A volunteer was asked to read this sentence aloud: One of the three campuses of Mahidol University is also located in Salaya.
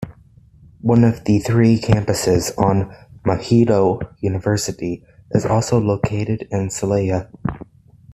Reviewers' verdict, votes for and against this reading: accepted, 2, 1